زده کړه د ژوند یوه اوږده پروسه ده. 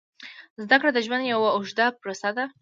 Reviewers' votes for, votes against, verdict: 2, 0, accepted